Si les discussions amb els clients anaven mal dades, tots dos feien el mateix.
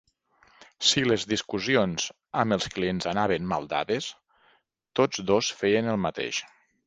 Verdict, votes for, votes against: accepted, 2, 0